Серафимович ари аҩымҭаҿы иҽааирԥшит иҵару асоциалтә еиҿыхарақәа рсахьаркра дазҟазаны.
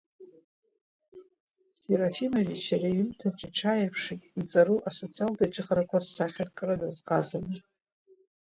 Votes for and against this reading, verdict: 2, 0, accepted